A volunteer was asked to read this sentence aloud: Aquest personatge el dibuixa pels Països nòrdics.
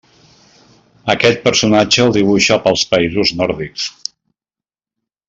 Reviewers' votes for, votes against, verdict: 2, 0, accepted